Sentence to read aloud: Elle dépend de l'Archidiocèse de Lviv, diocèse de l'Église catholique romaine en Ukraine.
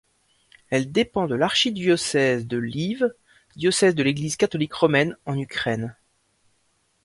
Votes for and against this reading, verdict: 0, 2, rejected